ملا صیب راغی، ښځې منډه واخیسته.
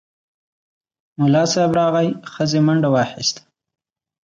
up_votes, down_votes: 2, 0